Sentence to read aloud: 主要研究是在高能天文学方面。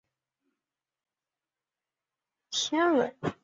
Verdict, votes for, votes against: rejected, 0, 3